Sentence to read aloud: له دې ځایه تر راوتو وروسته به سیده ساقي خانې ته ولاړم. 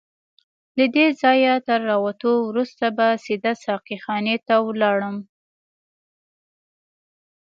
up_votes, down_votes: 1, 2